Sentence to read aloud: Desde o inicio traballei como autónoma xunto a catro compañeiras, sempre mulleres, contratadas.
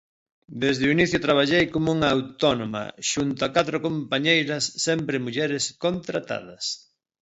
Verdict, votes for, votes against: rejected, 1, 2